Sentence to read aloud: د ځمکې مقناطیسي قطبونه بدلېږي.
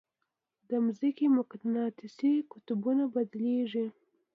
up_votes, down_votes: 2, 0